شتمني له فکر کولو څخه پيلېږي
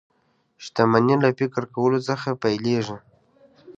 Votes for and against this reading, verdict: 3, 0, accepted